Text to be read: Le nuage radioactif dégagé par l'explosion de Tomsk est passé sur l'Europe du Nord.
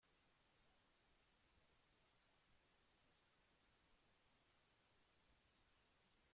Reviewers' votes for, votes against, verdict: 0, 3, rejected